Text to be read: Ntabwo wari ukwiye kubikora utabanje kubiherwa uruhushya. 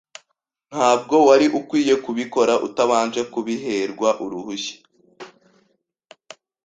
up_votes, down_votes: 2, 0